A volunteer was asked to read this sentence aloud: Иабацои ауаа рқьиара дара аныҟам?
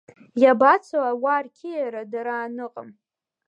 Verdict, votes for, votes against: rejected, 1, 2